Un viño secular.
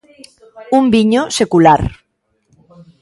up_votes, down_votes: 1, 2